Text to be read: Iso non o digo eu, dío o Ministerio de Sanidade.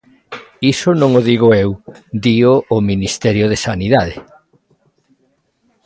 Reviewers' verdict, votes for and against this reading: accepted, 2, 0